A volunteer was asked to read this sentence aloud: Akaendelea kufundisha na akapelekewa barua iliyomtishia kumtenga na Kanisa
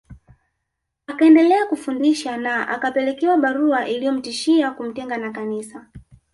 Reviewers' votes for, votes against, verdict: 2, 1, accepted